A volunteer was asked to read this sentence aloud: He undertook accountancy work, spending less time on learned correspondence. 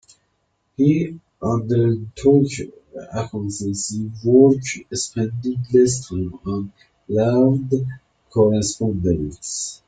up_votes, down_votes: 2, 0